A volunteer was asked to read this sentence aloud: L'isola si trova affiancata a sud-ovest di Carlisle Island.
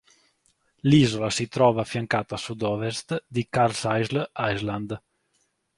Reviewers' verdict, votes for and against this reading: rejected, 1, 2